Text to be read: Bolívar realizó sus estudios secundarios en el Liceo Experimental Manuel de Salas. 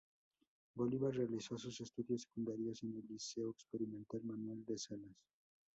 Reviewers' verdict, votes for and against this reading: rejected, 0, 2